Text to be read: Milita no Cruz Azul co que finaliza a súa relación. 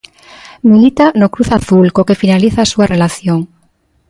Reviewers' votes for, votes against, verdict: 2, 0, accepted